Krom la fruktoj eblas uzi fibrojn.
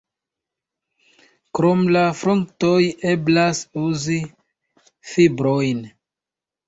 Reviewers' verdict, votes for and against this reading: rejected, 1, 2